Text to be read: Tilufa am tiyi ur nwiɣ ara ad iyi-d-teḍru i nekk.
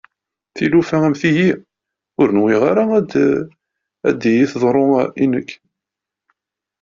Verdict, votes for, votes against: rejected, 0, 2